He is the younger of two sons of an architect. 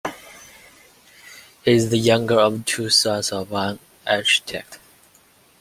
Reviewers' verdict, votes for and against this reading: rejected, 1, 2